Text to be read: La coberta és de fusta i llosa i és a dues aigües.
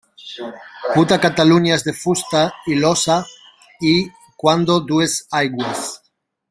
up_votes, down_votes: 0, 2